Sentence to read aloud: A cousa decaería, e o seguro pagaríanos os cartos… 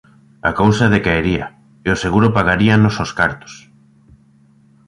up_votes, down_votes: 2, 0